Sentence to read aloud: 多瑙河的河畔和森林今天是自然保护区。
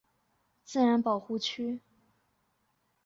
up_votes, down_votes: 0, 5